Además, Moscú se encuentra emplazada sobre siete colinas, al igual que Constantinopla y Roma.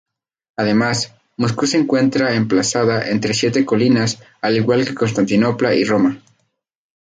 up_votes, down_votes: 2, 0